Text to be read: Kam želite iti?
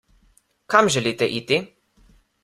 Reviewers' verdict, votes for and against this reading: accepted, 2, 1